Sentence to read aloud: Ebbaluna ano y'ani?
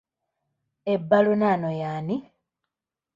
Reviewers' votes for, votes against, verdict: 1, 2, rejected